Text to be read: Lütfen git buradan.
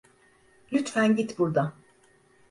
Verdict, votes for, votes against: accepted, 2, 0